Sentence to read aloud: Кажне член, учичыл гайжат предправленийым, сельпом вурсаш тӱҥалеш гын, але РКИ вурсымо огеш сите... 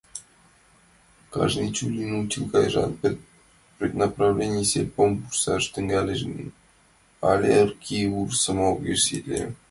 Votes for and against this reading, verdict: 1, 3, rejected